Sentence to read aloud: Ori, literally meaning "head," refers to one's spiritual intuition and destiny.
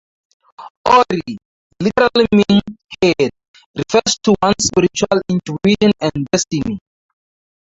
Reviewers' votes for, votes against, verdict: 4, 2, accepted